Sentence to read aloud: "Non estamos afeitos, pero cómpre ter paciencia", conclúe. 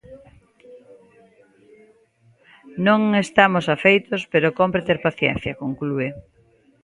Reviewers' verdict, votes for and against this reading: accepted, 2, 1